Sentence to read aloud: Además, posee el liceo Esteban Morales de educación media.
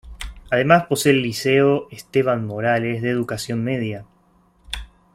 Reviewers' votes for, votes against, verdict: 2, 0, accepted